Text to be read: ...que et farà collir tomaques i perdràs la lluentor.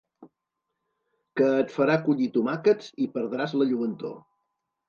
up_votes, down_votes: 1, 2